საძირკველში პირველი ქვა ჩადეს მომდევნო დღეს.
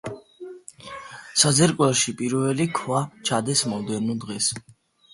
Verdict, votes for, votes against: accepted, 2, 0